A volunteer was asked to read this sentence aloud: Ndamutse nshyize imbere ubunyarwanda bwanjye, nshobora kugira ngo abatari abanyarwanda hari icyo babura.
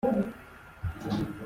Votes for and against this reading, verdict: 0, 2, rejected